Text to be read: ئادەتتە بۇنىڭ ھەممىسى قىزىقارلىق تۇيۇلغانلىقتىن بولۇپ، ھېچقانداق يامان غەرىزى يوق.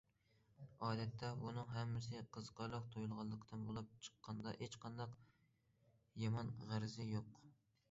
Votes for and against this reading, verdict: 0, 2, rejected